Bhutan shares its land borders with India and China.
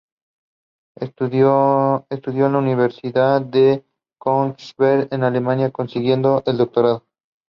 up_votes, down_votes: 0, 2